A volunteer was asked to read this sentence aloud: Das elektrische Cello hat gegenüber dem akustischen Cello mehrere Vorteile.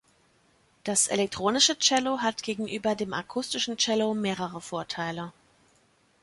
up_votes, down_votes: 1, 2